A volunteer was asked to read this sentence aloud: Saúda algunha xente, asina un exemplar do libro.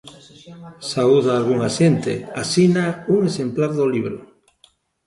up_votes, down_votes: 1, 2